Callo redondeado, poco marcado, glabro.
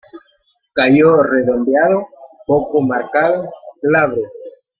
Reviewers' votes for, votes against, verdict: 2, 0, accepted